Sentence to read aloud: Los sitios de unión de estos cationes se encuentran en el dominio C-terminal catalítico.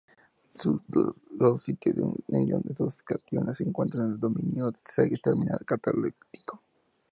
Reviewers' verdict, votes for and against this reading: rejected, 0, 4